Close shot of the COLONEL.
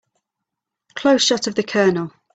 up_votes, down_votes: 3, 0